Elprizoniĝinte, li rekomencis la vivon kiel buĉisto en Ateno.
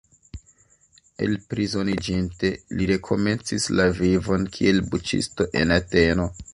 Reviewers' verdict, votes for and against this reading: accepted, 2, 0